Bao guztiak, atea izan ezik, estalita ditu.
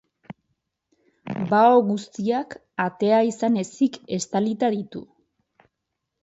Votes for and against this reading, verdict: 2, 2, rejected